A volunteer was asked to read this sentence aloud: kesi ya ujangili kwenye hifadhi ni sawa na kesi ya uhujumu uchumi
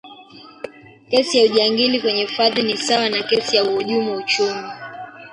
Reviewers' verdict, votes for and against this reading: rejected, 1, 3